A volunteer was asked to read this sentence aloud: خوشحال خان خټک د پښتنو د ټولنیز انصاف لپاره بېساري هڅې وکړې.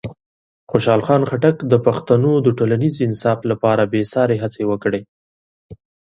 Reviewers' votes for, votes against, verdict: 2, 0, accepted